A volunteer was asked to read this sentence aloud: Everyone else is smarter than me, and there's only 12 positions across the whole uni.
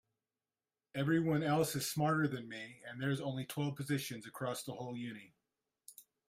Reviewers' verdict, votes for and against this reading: rejected, 0, 2